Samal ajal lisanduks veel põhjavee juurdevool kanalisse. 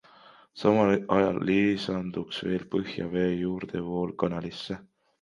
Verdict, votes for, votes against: rejected, 1, 3